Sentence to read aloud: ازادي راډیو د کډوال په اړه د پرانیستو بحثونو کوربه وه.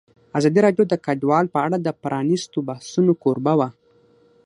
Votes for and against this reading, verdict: 6, 0, accepted